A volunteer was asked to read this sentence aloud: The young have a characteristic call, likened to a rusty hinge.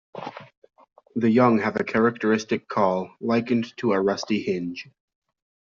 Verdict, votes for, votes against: accepted, 2, 0